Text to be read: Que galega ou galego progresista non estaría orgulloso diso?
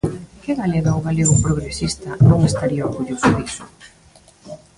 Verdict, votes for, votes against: rejected, 1, 2